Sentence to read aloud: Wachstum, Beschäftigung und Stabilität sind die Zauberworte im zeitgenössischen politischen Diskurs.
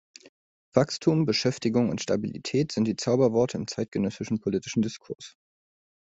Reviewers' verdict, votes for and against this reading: accepted, 3, 0